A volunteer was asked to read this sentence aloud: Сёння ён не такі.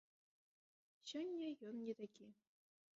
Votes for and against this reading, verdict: 2, 1, accepted